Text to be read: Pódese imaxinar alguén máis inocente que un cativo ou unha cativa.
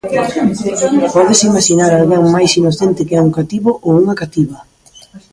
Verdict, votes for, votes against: rejected, 1, 2